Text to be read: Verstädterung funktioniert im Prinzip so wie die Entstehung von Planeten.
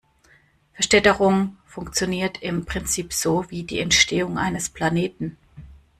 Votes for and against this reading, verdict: 1, 2, rejected